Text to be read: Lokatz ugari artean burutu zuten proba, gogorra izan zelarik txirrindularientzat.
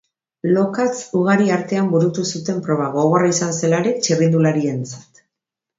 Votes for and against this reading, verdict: 2, 0, accepted